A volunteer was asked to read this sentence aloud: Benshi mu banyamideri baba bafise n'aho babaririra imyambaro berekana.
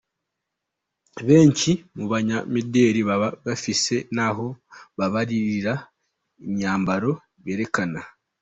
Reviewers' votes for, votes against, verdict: 3, 2, accepted